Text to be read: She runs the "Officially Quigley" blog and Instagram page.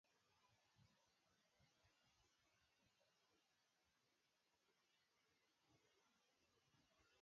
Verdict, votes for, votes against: rejected, 0, 2